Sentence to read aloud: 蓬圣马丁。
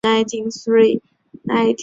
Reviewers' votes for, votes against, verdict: 0, 5, rejected